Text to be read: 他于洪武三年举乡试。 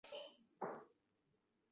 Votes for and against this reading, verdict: 0, 2, rejected